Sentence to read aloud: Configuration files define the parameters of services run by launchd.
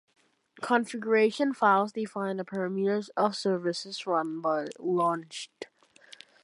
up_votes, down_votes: 1, 2